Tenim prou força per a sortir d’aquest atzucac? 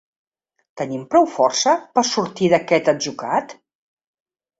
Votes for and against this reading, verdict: 1, 2, rejected